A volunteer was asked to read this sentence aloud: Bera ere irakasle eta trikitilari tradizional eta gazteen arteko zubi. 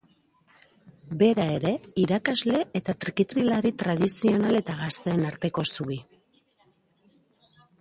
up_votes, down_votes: 2, 0